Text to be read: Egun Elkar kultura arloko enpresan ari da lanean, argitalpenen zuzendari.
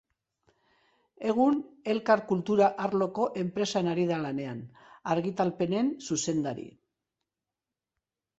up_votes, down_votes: 2, 0